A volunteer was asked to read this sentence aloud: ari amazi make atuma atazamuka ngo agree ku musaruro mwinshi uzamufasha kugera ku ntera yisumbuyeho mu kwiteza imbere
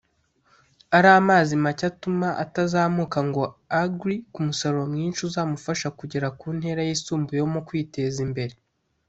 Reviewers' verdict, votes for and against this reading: accepted, 2, 0